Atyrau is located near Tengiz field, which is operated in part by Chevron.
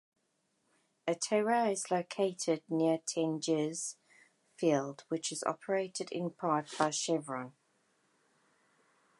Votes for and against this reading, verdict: 1, 2, rejected